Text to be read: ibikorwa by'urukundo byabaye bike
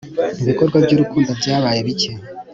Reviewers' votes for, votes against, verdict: 2, 0, accepted